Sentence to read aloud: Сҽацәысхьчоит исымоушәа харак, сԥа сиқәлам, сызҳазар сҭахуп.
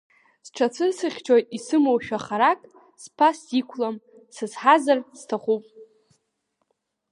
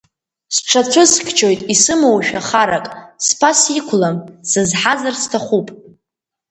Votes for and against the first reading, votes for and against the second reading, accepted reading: 2, 0, 0, 2, first